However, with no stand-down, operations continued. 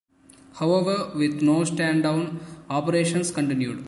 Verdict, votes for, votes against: rejected, 1, 2